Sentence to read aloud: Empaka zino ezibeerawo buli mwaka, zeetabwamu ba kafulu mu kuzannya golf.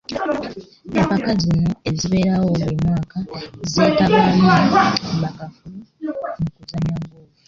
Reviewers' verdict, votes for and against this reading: rejected, 0, 2